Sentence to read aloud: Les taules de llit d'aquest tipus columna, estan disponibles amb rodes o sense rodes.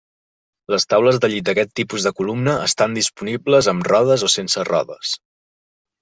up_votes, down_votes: 0, 2